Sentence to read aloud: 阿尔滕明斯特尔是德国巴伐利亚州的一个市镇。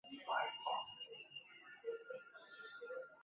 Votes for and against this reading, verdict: 0, 2, rejected